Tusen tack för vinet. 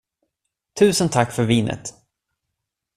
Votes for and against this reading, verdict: 2, 0, accepted